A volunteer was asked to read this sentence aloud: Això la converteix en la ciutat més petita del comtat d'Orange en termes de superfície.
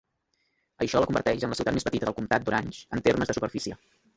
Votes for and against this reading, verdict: 0, 2, rejected